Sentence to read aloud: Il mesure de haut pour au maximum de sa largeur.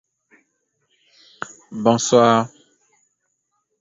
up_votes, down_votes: 0, 2